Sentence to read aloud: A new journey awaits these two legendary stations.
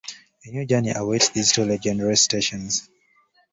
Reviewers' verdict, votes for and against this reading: rejected, 1, 2